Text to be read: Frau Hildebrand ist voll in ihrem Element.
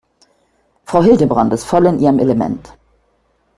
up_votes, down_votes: 2, 0